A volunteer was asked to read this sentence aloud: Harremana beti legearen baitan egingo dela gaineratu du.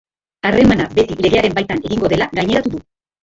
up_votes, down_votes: 1, 4